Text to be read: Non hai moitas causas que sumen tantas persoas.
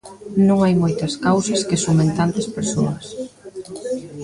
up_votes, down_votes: 2, 0